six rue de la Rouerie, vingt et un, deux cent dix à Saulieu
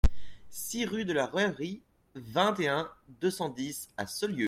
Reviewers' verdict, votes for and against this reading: accepted, 2, 1